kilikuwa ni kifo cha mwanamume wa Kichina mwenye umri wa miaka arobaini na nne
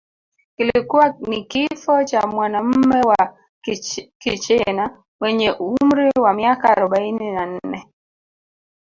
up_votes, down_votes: 0, 2